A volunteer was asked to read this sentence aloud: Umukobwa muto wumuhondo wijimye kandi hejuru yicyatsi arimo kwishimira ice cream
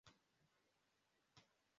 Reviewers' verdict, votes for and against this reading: rejected, 0, 2